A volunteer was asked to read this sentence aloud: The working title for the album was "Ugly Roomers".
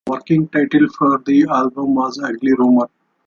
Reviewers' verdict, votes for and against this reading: rejected, 1, 2